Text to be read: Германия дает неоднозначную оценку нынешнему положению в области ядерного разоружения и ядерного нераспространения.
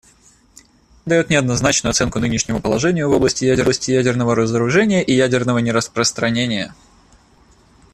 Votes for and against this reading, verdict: 0, 2, rejected